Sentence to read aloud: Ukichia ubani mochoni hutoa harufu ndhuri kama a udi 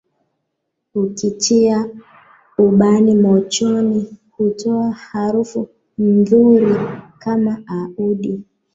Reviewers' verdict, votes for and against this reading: rejected, 0, 2